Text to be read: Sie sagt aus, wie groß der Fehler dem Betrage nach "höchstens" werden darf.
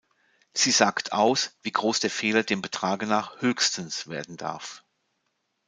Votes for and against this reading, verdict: 2, 0, accepted